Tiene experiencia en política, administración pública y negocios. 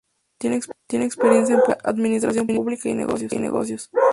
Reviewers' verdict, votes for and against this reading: rejected, 0, 2